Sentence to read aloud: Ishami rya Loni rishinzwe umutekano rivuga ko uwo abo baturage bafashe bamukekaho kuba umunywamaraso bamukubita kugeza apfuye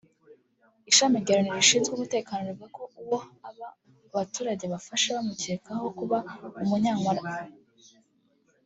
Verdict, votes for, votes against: rejected, 0, 2